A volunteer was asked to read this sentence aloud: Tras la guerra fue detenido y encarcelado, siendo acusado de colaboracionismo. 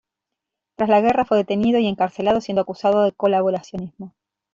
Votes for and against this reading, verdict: 2, 0, accepted